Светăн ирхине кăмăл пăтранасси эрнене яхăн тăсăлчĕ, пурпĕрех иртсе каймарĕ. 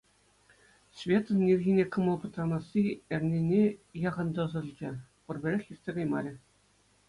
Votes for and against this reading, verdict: 2, 0, accepted